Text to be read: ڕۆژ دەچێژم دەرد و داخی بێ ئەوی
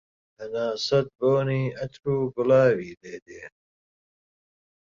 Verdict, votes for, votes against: rejected, 0, 2